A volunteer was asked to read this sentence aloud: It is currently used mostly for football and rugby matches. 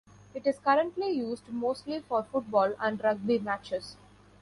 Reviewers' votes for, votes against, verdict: 2, 1, accepted